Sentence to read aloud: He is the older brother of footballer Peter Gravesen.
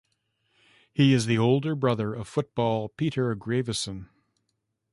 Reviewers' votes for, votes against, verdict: 1, 2, rejected